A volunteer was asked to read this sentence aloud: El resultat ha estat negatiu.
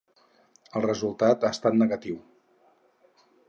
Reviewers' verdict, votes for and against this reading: accepted, 6, 0